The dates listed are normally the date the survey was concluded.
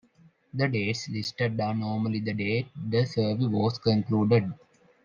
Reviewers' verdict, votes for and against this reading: accepted, 2, 1